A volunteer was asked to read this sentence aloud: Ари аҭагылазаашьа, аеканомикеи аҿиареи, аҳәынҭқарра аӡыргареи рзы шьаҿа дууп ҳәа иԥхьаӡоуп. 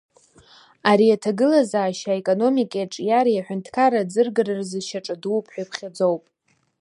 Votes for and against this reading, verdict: 2, 0, accepted